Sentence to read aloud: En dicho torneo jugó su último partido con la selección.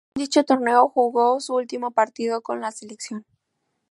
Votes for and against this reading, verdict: 0, 4, rejected